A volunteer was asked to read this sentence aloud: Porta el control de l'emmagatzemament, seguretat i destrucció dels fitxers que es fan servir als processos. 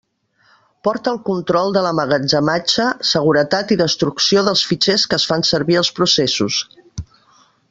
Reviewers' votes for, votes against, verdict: 0, 2, rejected